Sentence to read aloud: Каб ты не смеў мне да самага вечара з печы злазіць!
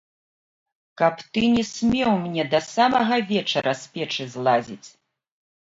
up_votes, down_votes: 1, 2